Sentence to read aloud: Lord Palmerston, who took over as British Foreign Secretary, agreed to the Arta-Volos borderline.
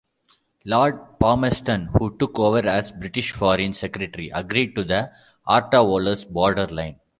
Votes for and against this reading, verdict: 2, 0, accepted